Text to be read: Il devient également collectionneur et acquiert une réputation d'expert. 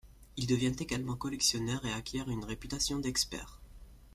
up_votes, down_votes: 2, 0